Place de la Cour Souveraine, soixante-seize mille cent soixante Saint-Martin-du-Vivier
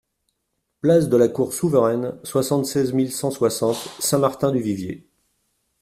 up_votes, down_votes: 2, 0